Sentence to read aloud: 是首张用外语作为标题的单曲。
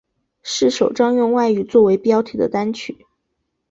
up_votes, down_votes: 2, 0